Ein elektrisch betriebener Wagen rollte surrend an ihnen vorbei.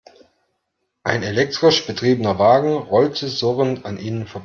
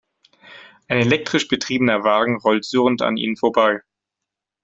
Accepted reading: second